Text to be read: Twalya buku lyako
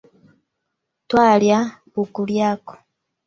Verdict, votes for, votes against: accepted, 3, 0